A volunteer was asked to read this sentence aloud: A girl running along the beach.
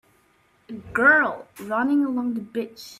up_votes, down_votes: 0, 2